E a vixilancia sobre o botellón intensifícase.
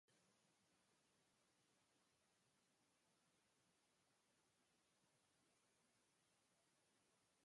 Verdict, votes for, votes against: rejected, 1, 2